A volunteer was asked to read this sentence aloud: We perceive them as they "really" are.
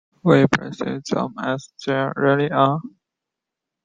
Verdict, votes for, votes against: rejected, 0, 2